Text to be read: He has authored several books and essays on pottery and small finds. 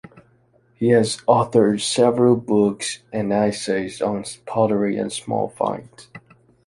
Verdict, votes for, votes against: rejected, 1, 2